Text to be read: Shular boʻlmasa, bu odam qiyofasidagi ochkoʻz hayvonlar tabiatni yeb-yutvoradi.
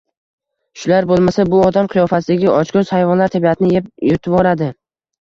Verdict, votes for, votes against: rejected, 1, 2